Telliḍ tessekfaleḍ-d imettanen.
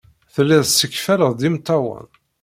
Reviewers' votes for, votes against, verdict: 1, 2, rejected